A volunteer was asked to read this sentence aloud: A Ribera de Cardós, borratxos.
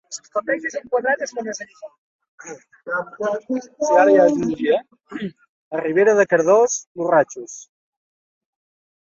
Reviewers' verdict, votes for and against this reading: rejected, 0, 2